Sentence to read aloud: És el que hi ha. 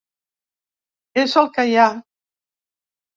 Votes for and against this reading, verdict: 3, 1, accepted